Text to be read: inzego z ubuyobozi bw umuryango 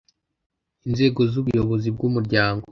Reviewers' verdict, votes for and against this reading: accepted, 2, 0